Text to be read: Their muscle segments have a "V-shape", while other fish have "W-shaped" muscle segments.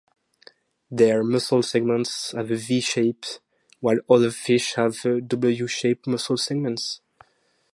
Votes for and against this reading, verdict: 2, 0, accepted